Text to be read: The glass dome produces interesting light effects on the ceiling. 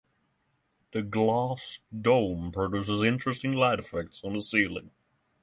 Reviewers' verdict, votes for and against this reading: accepted, 6, 0